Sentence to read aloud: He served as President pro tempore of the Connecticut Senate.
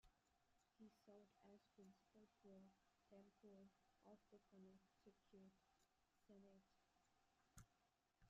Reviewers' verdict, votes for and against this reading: rejected, 0, 2